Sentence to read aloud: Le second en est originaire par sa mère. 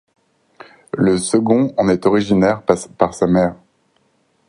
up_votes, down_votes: 2, 4